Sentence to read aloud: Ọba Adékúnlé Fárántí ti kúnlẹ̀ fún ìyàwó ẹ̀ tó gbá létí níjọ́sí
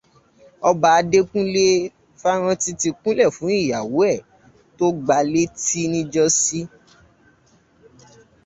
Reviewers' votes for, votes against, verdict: 0, 2, rejected